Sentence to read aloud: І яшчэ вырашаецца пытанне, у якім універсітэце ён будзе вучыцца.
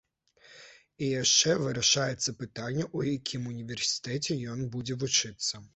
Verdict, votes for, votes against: accepted, 2, 0